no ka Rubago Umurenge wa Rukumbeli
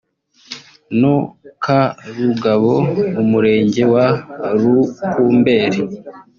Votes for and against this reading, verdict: 1, 2, rejected